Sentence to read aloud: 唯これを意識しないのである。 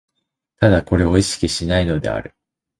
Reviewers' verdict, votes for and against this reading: accepted, 2, 0